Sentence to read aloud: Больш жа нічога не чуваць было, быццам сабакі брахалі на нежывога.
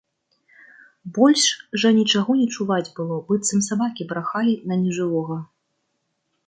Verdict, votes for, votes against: rejected, 1, 2